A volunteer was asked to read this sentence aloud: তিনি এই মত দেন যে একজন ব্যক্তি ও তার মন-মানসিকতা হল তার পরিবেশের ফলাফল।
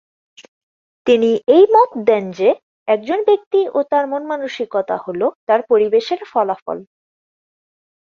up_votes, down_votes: 4, 0